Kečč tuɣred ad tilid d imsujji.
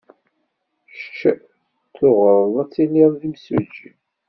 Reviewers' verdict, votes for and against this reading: rejected, 0, 2